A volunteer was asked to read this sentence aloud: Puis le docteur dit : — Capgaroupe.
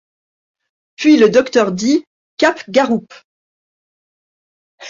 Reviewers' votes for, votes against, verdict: 2, 0, accepted